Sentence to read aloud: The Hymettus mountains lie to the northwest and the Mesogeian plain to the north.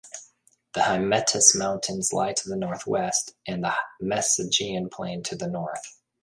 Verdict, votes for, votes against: accepted, 2, 0